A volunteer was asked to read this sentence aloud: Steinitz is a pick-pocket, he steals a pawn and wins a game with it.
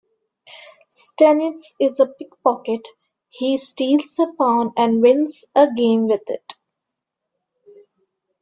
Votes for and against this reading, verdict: 2, 0, accepted